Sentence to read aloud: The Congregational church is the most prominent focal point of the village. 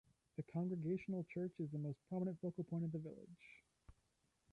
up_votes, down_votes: 1, 2